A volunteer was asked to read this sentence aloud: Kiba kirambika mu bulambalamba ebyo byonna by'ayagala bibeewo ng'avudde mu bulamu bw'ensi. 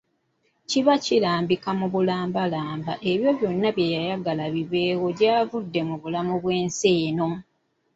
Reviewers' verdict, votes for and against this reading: rejected, 0, 2